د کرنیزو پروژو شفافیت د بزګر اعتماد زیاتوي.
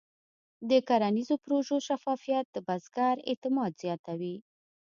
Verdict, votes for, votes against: accepted, 2, 0